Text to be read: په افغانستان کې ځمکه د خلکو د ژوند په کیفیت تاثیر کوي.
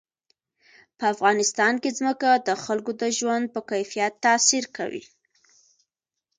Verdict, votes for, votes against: accepted, 2, 0